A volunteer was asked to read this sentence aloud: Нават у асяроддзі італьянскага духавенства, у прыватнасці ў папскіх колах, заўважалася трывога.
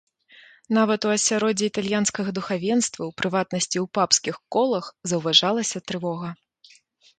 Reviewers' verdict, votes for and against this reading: accepted, 3, 0